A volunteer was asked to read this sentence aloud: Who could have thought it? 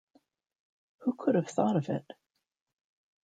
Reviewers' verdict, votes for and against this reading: rejected, 0, 2